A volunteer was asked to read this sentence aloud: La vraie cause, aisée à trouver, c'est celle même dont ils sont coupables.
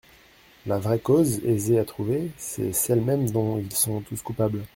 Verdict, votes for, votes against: rejected, 1, 2